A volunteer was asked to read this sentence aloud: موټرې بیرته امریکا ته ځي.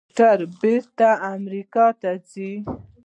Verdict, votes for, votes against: rejected, 1, 2